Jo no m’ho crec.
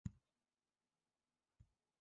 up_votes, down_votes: 0, 2